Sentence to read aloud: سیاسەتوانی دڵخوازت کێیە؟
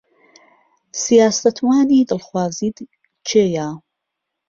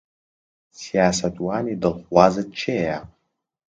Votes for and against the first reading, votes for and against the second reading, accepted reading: 1, 2, 2, 0, second